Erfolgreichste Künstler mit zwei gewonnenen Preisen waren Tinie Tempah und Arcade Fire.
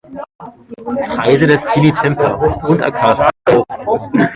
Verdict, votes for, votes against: rejected, 0, 2